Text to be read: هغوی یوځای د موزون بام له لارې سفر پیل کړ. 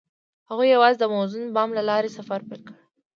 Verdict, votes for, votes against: rejected, 0, 2